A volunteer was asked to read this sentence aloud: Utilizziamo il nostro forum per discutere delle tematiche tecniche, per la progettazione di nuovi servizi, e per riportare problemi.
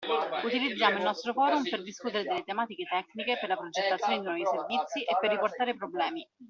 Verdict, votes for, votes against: accepted, 2, 1